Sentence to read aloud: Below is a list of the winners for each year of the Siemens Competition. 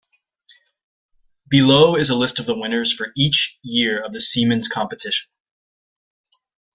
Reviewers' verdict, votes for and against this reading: accepted, 2, 1